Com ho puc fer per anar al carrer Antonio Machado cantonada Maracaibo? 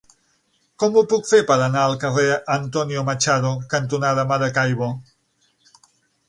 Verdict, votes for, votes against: accepted, 9, 0